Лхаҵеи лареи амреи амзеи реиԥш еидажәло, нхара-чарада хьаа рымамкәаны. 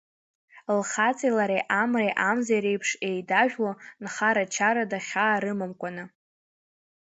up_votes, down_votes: 2, 0